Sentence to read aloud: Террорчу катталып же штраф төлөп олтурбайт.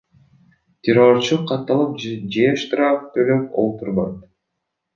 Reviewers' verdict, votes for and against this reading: rejected, 0, 2